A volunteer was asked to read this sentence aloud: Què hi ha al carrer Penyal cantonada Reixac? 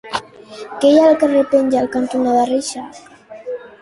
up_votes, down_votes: 0, 3